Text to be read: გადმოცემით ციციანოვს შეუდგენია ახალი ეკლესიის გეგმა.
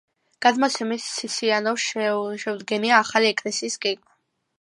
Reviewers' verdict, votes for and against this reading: rejected, 1, 2